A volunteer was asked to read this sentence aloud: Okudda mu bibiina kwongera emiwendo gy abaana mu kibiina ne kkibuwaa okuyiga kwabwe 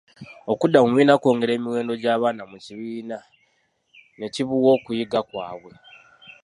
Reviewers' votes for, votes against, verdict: 1, 2, rejected